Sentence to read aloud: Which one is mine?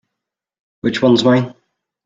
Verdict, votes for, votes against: rejected, 1, 2